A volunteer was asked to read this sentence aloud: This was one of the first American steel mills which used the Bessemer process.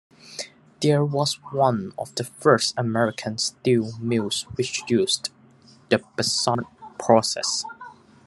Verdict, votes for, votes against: rejected, 0, 2